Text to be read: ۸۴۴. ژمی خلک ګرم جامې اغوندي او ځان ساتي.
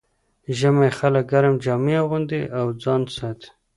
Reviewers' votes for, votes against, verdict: 0, 2, rejected